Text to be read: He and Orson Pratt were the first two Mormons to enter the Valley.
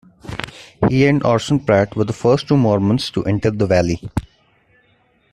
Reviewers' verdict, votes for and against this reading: accepted, 2, 0